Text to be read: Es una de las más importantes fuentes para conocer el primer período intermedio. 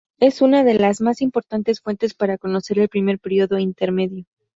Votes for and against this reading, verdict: 0, 2, rejected